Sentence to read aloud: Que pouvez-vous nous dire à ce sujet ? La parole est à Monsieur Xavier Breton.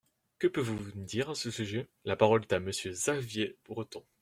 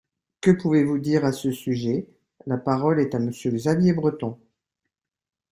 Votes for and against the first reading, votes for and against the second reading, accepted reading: 0, 2, 2, 0, second